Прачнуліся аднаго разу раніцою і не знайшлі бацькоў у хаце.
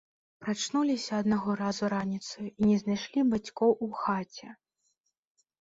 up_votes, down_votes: 0, 2